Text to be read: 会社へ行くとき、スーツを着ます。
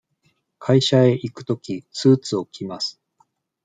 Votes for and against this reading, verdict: 2, 0, accepted